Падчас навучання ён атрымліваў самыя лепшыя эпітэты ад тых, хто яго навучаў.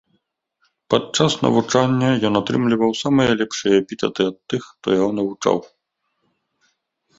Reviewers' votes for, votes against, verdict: 2, 0, accepted